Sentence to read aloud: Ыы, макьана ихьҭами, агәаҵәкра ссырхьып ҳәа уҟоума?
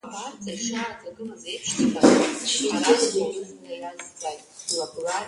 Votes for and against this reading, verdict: 0, 5, rejected